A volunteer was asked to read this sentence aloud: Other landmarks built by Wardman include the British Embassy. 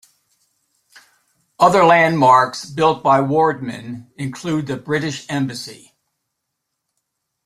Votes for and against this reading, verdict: 2, 0, accepted